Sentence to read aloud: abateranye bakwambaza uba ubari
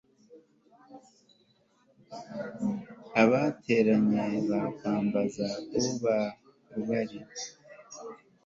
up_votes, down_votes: 2, 0